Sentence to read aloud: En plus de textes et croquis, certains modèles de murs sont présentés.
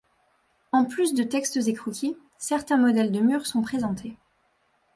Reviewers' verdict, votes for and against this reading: accepted, 2, 0